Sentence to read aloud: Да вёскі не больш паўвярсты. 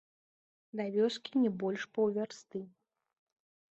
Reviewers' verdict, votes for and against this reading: rejected, 0, 3